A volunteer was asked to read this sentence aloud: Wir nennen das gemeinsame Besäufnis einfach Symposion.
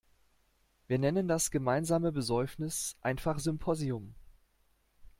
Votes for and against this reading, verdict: 1, 2, rejected